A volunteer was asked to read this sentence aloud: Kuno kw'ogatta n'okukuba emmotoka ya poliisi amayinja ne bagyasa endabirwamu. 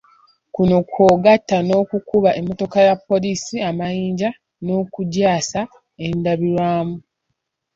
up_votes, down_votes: 1, 2